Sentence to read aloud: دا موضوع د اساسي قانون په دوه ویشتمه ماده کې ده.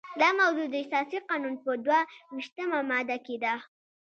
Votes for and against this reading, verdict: 2, 0, accepted